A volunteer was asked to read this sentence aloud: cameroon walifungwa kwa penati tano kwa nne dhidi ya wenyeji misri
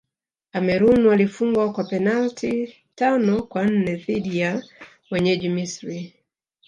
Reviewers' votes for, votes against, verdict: 1, 3, rejected